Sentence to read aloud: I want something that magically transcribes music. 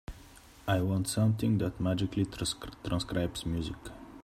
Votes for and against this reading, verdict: 0, 2, rejected